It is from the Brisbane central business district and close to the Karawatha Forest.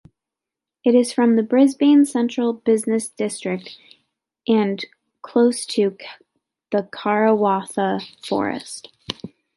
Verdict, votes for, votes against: accepted, 2, 1